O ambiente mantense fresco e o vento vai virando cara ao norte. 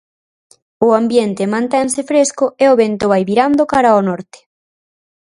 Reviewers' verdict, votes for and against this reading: accepted, 4, 0